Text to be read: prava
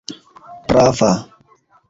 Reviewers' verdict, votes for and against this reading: accepted, 2, 0